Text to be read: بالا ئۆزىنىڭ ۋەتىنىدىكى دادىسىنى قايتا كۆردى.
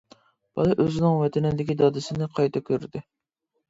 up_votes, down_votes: 2, 0